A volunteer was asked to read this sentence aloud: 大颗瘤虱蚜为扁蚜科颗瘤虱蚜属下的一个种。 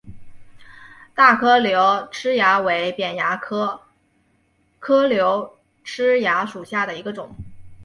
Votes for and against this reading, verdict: 0, 3, rejected